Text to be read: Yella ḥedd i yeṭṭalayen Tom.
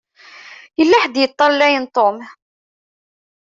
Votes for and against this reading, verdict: 2, 0, accepted